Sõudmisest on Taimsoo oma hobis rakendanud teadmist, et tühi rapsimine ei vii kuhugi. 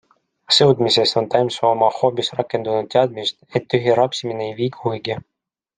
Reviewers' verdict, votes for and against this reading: accepted, 2, 0